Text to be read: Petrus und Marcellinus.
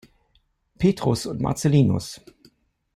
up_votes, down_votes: 2, 0